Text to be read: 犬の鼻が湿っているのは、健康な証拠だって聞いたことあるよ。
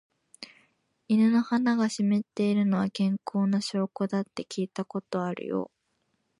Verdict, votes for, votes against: rejected, 1, 2